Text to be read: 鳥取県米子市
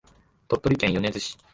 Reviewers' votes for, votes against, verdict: 2, 1, accepted